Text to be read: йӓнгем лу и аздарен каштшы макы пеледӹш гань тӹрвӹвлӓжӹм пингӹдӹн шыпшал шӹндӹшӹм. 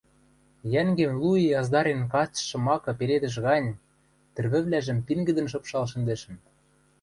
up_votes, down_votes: 1, 2